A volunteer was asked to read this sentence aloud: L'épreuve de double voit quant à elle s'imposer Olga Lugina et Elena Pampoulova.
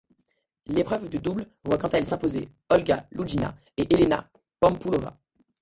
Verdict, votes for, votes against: rejected, 0, 2